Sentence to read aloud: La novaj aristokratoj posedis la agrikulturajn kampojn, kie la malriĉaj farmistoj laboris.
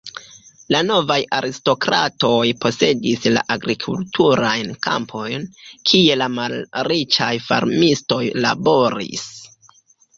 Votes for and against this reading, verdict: 3, 0, accepted